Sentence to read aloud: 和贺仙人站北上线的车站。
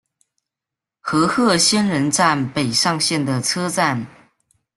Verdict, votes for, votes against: accepted, 2, 1